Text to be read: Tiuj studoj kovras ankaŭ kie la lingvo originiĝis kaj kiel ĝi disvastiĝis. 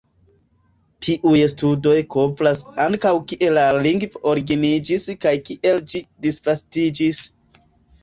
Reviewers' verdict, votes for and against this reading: rejected, 2, 3